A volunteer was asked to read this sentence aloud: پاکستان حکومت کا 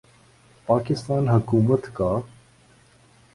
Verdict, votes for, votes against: accepted, 12, 1